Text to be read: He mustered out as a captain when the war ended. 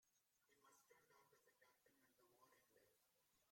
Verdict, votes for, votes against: rejected, 0, 2